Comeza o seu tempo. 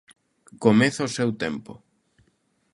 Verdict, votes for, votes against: accepted, 2, 0